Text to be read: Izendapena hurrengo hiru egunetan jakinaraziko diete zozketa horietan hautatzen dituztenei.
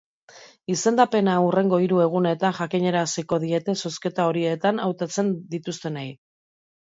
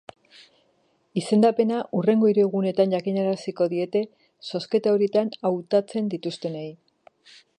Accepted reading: first